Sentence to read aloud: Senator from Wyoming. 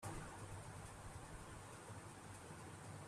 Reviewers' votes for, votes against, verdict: 0, 2, rejected